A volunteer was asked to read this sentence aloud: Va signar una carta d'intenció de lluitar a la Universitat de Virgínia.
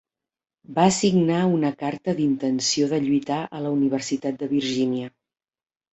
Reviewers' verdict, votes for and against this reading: accepted, 3, 0